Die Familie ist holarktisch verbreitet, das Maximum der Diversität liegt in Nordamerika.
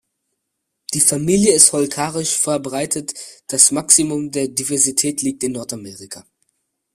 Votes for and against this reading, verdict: 0, 2, rejected